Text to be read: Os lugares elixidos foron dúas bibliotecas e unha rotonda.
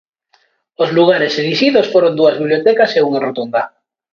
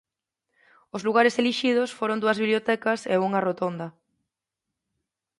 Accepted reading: second